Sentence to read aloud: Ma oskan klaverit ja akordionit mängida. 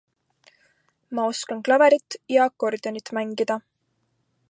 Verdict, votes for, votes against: accepted, 3, 0